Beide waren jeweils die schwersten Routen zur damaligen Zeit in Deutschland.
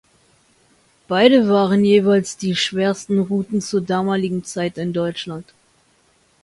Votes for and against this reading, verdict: 2, 0, accepted